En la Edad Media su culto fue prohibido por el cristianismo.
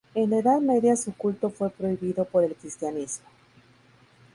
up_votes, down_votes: 0, 2